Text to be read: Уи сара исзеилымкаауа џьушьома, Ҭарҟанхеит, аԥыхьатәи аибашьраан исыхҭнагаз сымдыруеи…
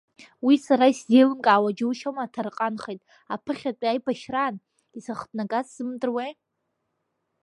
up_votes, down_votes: 1, 2